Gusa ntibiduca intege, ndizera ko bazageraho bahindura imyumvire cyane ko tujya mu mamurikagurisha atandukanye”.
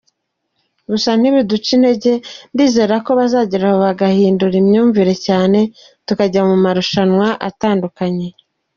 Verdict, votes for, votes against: rejected, 0, 2